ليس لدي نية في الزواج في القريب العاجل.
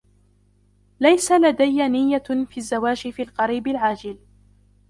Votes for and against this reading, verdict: 0, 2, rejected